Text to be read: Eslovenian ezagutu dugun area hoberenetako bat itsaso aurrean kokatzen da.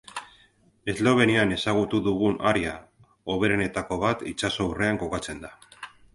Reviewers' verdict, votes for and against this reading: accepted, 2, 0